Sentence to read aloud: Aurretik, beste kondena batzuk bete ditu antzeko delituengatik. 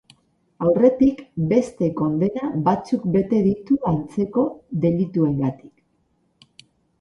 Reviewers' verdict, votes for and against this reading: accepted, 4, 0